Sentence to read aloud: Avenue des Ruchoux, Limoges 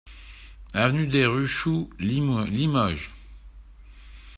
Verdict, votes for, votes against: rejected, 0, 2